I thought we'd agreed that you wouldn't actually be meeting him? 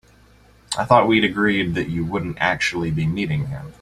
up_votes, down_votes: 2, 0